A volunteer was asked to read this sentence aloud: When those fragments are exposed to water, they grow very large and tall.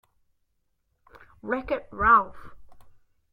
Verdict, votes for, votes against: rejected, 0, 2